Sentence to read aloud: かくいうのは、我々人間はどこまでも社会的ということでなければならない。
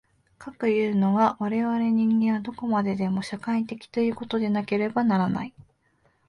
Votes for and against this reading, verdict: 2, 0, accepted